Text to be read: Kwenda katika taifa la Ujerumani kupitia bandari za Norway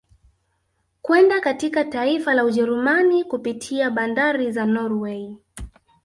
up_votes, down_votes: 6, 0